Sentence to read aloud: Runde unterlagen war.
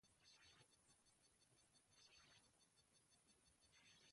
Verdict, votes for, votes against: rejected, 0, 2